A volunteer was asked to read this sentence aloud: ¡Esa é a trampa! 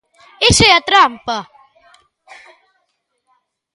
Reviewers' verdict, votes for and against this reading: accepted, 2, 0